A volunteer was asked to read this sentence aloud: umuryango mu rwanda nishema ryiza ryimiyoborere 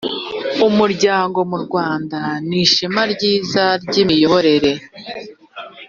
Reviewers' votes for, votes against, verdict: 3, 0, accepted